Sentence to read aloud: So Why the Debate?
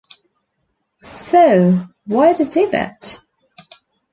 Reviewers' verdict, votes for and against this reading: rejected, 0, 2